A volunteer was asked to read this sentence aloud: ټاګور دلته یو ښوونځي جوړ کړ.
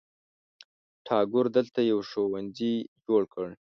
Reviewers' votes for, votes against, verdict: 1, 2, rejected